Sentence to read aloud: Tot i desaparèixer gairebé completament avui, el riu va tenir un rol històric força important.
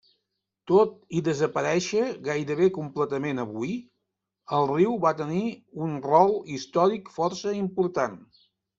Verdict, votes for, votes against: accepted, 6, 0